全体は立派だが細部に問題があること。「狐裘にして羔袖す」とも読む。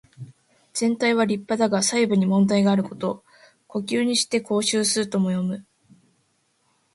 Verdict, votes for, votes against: accepted, 2, 0